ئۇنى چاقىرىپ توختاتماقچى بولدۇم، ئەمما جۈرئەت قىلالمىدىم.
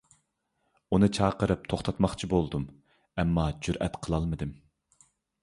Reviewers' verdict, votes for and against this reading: accepted, 2, 0